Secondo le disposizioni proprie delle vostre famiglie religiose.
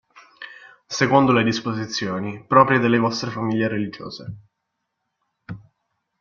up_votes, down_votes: 2, 0